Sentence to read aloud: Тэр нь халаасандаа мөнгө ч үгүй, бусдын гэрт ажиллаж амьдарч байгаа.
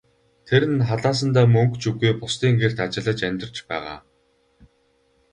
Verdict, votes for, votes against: accepted, 4, 2